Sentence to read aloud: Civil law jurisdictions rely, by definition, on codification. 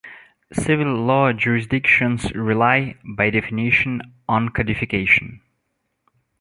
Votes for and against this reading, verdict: 2, 0, accepted